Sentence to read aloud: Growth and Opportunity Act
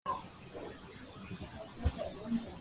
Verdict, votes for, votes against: rejected, 0, 2